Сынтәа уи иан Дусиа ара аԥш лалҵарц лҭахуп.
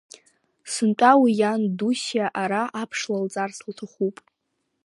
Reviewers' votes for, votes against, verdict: 2, 0, accepted